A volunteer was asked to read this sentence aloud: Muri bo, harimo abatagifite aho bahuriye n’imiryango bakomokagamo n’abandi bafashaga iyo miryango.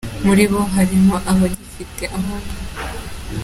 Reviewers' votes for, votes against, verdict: 0, 2, rejected